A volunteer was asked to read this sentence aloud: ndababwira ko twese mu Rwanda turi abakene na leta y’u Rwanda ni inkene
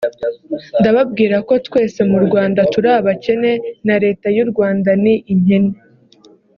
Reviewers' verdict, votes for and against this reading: rejected, 1, 2